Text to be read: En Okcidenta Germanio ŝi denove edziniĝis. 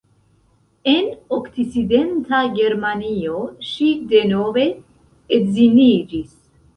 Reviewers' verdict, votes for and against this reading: rejected, 1, 2